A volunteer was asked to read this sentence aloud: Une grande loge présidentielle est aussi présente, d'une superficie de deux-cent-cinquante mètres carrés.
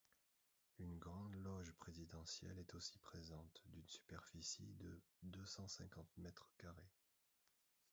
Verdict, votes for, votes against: rejected, 0, 2